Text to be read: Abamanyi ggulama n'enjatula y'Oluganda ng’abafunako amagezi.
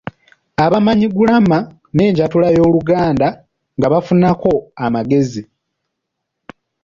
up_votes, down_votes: 1, 2